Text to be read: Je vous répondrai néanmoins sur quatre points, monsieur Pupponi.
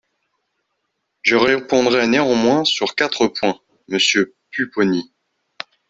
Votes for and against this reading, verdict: 0, 2, rejected